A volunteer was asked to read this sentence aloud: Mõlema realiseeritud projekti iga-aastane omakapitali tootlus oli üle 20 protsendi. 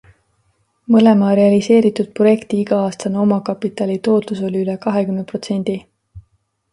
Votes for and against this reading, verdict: 0, 2, rejected